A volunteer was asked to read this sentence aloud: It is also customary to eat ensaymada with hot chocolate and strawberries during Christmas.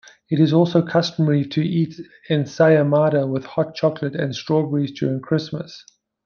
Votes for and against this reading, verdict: 0, 2, rejected